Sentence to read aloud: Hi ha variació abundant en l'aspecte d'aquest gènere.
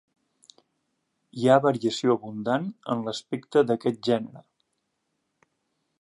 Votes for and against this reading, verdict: 2, 0, accepted